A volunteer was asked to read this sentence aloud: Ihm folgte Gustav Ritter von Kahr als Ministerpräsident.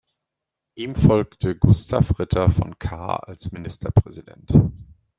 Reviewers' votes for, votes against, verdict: 1, 2, rejected